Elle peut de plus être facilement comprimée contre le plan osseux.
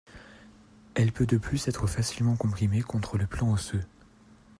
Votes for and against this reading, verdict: 2, 0, accepted